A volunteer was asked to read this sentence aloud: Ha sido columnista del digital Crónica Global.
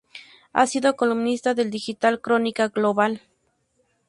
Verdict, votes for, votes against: accepted, 2, 0